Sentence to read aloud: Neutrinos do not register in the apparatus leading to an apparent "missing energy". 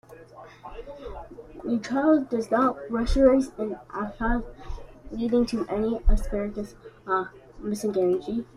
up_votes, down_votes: 1, 2